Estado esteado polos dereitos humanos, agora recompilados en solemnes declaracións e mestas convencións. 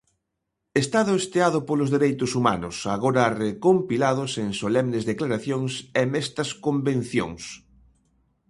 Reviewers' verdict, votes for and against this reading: accepted, 2, 0